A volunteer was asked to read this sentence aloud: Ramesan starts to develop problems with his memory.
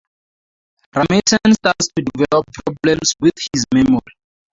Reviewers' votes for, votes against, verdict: 2, 0, accepted